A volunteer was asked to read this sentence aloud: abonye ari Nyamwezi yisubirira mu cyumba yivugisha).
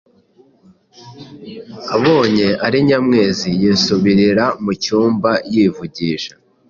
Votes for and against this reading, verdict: 2, 0, accepted